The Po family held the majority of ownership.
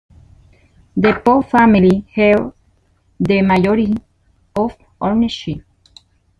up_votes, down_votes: 0, 2